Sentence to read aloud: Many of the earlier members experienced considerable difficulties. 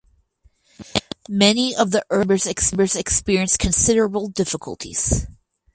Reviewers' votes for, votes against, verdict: 0, 4, rejected